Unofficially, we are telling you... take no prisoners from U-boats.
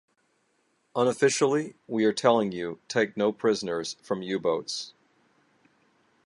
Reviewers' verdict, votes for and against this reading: accepted, 2, 0